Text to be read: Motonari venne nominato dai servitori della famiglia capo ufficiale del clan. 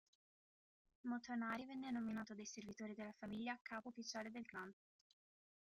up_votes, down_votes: 2, 1